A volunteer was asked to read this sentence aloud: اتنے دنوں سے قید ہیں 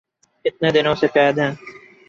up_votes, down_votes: 2, 4